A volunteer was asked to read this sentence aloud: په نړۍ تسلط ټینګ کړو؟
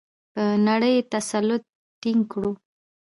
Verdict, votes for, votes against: rejected, 1, 2